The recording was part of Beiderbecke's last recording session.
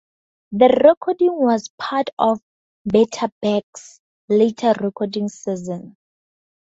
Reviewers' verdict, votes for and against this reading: rejected, 0, 2